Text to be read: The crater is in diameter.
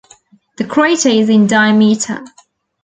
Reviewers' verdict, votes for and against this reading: rejected, 0, 2